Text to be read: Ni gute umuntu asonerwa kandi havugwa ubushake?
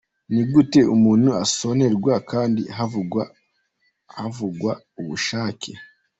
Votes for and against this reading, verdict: 1, 2, rejected